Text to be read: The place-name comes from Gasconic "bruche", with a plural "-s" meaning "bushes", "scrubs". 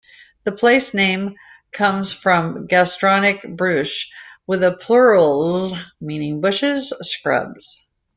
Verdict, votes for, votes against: rejected, 0, 2